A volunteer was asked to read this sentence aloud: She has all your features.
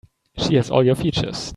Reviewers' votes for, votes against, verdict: 2, 0, accepted